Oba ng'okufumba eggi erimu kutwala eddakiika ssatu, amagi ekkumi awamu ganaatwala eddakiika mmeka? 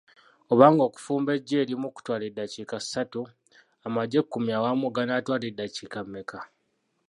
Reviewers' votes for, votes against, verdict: 0, 2, rejected